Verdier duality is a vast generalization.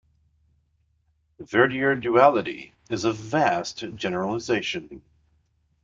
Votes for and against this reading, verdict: 2, 0, accepted